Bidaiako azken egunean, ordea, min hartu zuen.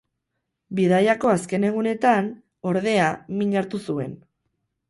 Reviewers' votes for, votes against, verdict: 0, 4, rejected